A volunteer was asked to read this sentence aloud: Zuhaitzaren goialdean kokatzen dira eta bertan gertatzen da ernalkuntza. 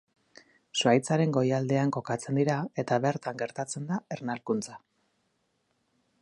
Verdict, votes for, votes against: accepted, 2, 0